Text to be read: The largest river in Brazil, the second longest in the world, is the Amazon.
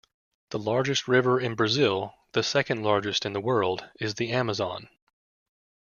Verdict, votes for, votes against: rejected, 1, 2